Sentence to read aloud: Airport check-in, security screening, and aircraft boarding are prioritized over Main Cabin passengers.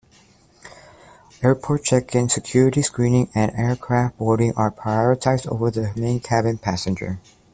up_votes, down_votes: 0, 2